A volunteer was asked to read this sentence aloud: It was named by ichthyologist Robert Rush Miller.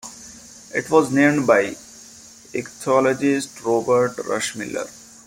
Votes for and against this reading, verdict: 0, 2, rejected